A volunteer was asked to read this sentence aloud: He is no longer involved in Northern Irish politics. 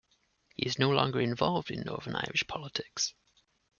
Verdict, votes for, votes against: accepted, 2, 0